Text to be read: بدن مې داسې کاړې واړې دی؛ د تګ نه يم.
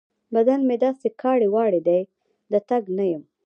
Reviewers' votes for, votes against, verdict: 2, 0, accepted